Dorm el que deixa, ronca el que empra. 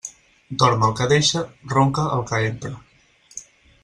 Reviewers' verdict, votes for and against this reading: accepted, 4, 2